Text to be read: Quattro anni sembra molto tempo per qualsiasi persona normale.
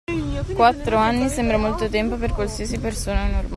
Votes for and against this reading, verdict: 1, 2, rejected